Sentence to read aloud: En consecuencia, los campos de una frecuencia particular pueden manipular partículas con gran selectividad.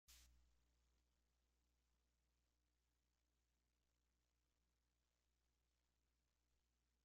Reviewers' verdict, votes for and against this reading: rejected, 0, 2